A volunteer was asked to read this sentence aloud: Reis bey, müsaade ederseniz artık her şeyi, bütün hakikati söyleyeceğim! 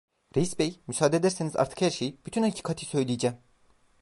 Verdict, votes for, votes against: rejected, 0, 2